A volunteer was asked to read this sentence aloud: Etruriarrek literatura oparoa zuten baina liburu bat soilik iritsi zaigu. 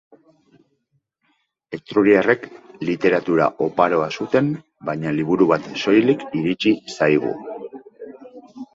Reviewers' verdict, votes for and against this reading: accepted, 2, 1